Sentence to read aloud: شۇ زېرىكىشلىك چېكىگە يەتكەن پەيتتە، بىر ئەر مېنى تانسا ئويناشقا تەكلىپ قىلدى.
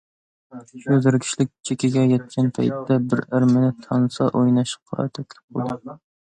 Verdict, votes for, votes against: rejected, 1, 2